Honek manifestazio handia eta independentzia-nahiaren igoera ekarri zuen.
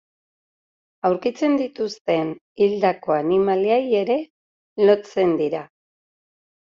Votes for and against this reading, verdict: 0, 2, rejected